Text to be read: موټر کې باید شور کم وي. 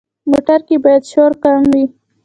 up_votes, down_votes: 2, 0